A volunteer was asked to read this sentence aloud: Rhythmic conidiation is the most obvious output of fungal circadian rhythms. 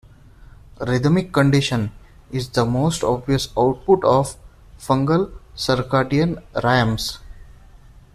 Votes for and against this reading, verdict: 1, 2, rejected